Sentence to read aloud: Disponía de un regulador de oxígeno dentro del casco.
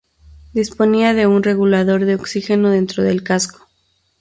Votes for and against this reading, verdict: 2, 0, accepted